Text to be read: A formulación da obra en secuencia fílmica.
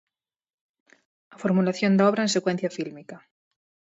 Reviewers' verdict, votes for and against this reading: accepted, 4, 0